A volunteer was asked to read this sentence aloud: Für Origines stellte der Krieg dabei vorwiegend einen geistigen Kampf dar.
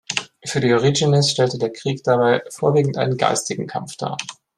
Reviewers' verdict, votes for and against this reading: rejected, 1, 2